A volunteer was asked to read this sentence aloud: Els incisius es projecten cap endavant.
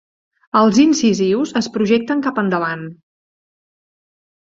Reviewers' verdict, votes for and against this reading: accepted, 3, 0